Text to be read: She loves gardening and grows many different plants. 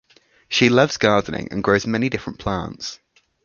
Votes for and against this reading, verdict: 2, 0, accepted